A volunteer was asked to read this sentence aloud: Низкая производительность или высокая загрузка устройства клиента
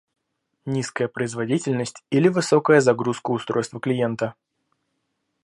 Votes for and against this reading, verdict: 2, 0, accepted